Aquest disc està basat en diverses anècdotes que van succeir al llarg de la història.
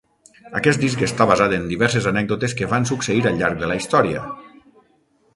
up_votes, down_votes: 3, 6